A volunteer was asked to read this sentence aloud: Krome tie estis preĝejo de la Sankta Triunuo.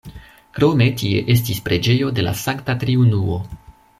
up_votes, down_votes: 2, 0